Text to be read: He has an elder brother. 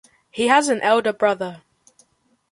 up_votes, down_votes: 2, 0